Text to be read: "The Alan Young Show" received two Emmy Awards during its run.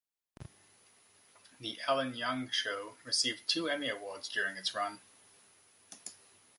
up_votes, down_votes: 2, 0